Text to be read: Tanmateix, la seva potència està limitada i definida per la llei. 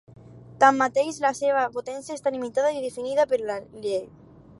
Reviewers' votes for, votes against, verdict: 4, 0, accepted